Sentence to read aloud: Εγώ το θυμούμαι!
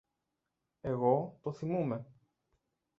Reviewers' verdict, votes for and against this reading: rejected, 0, 2